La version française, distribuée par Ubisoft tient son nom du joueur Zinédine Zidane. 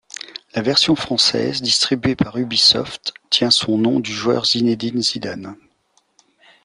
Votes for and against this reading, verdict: 2, 0, accepted